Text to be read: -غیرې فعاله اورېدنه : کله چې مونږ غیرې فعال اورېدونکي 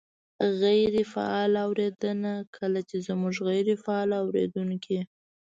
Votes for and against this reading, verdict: 1, 2, rejected